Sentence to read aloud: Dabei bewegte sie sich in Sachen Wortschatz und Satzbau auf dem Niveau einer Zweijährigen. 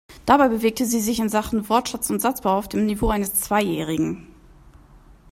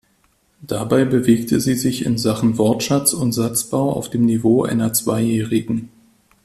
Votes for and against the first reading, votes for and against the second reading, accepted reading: 1, 2, 2, 0, second